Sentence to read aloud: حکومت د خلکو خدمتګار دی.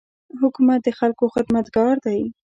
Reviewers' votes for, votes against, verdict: 2, 0, accepted